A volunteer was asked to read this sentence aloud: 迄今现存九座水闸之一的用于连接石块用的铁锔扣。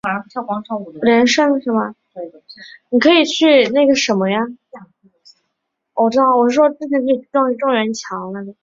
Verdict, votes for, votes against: rejected, 0, 3